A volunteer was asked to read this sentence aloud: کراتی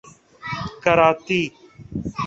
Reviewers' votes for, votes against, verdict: 0, 2, rejected